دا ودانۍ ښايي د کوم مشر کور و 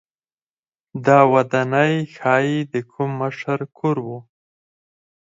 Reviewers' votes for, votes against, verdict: 0, 4, rejected